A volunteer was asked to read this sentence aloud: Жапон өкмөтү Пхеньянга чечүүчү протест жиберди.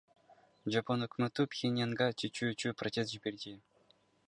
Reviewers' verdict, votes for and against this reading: accepted, 2, 1